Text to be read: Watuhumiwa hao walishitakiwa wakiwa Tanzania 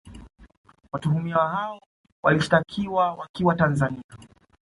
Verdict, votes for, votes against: accepted, 2, 0